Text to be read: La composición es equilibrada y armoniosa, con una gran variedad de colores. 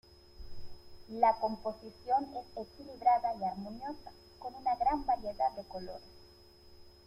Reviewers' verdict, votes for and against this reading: rejected, 1, 2